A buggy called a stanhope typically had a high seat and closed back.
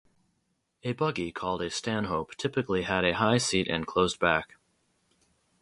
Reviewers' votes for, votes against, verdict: 2, 0, accepted